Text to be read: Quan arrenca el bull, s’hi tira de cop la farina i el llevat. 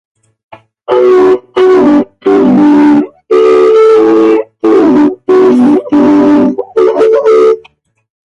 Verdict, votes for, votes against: rejected, 0, 2